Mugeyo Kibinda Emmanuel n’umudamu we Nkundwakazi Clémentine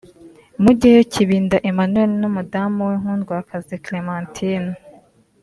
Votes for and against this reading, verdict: 0, 2, rejected